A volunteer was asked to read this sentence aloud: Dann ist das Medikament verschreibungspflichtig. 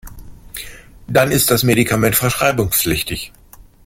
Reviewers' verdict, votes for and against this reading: accepted, 2, 0